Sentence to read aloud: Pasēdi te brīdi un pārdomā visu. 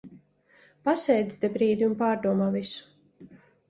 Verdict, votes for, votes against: accepted, 2, 0